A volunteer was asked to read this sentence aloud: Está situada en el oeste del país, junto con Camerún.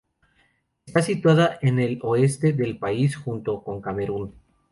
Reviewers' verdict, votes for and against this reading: rejected, 0, 2